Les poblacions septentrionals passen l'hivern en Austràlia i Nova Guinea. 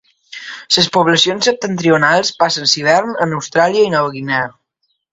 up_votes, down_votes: 1, 2